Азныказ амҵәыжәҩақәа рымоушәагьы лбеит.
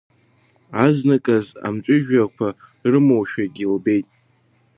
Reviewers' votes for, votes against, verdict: 0, 2, rejected